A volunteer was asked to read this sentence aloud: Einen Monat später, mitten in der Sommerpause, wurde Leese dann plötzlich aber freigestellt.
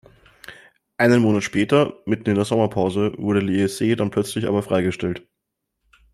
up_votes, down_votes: 2, 0